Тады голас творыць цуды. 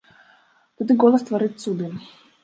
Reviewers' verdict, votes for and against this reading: rejected, 0, 2